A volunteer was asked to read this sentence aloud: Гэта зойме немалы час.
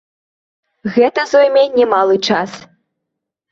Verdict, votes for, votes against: accepted, 2, 0